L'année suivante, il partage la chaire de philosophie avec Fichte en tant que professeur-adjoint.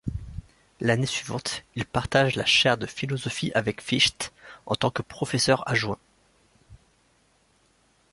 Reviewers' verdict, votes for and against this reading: rejected, 1, 2